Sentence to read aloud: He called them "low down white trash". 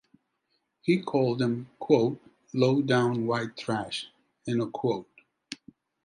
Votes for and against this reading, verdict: 2, 0, accepted